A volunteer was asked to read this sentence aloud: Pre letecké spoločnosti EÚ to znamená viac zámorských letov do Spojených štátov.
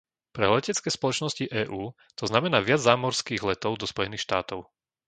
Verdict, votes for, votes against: accepted, 3, 0